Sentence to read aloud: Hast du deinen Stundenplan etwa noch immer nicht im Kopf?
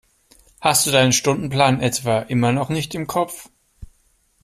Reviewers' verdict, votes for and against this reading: rejected, 0, 2